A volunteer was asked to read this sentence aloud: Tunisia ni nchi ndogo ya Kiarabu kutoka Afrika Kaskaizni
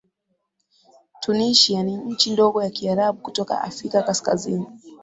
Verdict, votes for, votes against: accepted, 14, 1